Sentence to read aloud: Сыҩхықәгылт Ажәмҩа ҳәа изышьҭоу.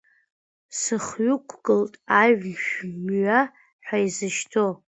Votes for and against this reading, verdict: 2, 0, accepted